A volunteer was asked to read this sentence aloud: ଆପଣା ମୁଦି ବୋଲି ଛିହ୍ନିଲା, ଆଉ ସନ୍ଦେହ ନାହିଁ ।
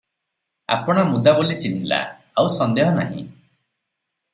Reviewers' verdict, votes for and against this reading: rejected, 0, 3